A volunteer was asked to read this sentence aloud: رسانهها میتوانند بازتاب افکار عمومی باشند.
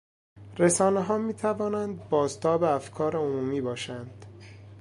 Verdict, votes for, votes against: accepted, 3, 0